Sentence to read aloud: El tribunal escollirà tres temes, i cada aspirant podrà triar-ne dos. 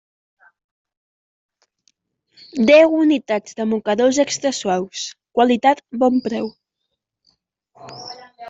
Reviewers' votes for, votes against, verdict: 0, 2, rejected